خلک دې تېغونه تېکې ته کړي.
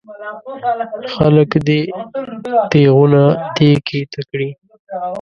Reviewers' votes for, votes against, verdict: 1, 2, rejected